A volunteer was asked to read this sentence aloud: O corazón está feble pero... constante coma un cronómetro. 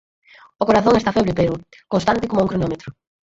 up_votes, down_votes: 2, 4